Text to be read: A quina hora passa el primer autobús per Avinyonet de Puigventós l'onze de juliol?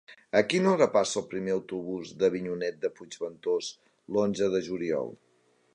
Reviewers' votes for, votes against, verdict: 0, 2, rejected